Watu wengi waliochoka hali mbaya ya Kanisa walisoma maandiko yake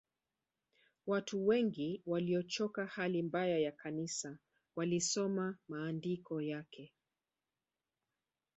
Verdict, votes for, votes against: rejected, 1, 2